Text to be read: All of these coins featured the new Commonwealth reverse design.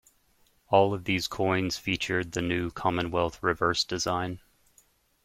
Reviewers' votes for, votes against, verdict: 2, 0, accepted